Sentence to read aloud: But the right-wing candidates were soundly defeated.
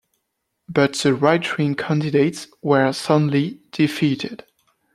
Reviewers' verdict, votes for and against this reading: rejected, 1, 2